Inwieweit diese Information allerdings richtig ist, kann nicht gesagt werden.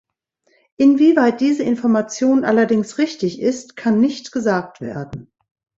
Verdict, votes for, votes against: accepted, 2, 0